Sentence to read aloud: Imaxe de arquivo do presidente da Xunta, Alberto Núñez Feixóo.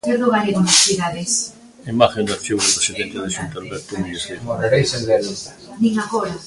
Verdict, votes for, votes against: rejected, 0, 2